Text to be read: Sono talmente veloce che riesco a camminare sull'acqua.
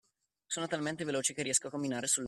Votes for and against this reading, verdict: 0, 2, rejected